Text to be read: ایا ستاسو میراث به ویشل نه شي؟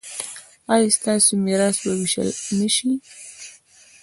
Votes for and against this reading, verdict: 1, 2, rejected